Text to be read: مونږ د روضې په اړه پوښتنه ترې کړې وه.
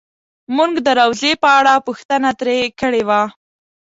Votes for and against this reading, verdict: 2, 0, accepted